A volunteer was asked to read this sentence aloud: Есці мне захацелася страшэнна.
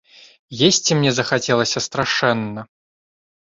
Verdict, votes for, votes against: accepted, 2, 0